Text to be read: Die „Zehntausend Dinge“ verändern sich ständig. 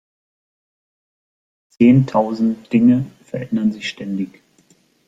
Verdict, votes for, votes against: accepted, 2, 1